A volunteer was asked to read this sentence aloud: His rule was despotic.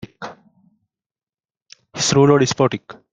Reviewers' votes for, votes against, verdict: 0, 2, rejected